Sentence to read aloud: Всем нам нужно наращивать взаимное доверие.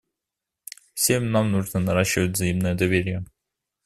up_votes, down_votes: 2, 0